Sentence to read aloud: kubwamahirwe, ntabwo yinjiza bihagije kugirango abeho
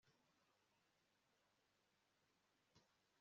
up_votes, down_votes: 1, 2